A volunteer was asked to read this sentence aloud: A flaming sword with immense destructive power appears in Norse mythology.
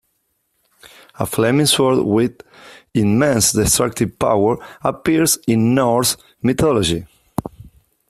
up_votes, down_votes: 2, 0